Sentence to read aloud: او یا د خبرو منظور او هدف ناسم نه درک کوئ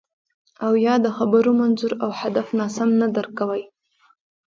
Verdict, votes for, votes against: rejected, 1, 2